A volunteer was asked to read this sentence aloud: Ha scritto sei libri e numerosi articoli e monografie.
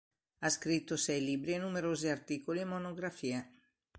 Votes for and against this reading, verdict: 2, 0, accepted